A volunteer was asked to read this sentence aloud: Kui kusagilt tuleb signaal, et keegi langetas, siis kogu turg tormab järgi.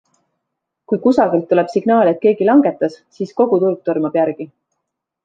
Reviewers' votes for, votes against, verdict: 2, 0, accepted